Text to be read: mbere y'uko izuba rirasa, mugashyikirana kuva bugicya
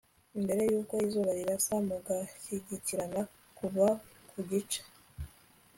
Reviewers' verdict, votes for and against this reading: accepted, 2, 0